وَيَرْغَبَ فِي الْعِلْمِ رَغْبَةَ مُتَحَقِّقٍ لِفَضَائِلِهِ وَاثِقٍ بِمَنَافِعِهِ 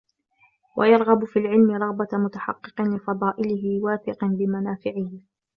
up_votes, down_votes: 2, 1